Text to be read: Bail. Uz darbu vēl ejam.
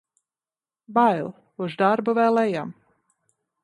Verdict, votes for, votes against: accepted, 2, 0